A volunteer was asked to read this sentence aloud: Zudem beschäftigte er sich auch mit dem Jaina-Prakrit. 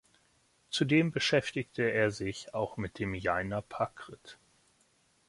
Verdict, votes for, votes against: rejected, 1, 2